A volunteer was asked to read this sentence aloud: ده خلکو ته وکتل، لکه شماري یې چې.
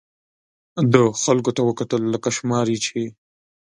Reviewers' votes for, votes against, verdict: 2, 0, accepted